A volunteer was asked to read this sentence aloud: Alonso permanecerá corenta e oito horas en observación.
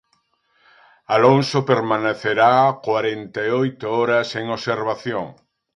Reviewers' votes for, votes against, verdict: 1, 2, rejected